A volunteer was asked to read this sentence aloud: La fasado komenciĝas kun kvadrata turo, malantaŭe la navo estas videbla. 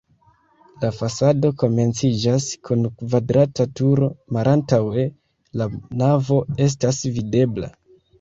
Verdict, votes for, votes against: accepted, 2, 0